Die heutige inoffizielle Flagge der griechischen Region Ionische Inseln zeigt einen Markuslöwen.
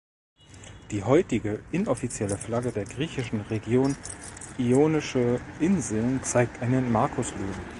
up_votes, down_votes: 2, 0